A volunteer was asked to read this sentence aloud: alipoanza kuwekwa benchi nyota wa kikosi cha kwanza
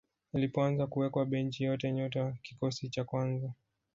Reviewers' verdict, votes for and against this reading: rejected, 1, 2